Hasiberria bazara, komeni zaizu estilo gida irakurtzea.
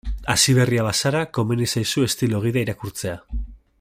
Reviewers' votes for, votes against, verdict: 2, 0, accepted